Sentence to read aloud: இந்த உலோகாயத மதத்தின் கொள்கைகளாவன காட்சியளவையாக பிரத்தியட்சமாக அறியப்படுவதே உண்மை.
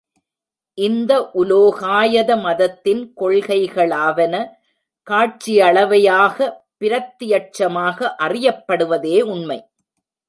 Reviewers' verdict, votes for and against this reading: rejected, 1, 2